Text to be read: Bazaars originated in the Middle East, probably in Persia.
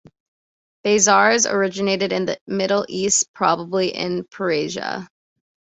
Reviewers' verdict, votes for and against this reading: rejected, 0, 2